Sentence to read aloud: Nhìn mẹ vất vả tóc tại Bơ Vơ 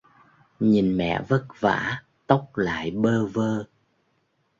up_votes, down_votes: 0, 2